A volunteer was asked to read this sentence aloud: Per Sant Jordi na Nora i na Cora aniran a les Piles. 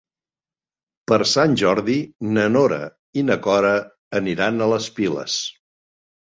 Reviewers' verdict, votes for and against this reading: accepted, 2, 0